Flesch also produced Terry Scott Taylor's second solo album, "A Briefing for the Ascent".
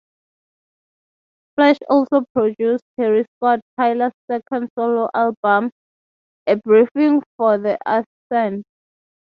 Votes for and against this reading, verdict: 0, 3, rejected